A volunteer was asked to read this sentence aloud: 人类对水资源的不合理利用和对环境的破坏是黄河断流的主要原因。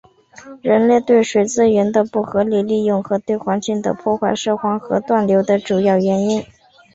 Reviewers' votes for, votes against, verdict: 5, 0, accepted